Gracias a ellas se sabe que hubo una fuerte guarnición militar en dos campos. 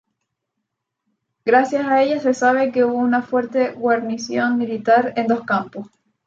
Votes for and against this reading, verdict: 2, 0, accepted